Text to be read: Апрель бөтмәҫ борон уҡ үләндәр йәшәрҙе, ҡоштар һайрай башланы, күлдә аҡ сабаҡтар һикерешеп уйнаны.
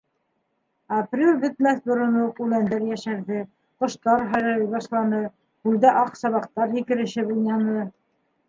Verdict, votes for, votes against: accepted, 2, 0